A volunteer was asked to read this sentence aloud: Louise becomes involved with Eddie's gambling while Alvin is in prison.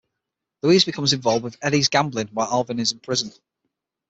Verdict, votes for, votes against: accepted, 6, 0